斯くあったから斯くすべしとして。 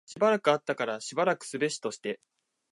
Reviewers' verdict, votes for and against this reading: rejected, 1, 2